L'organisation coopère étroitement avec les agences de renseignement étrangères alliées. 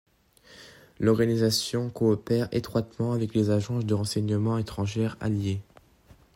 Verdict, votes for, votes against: accepted, 2, 0